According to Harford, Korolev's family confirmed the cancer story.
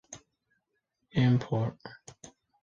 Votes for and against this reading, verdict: 0, 3, rejected